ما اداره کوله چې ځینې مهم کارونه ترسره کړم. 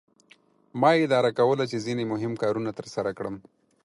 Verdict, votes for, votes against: accepted, 6, 0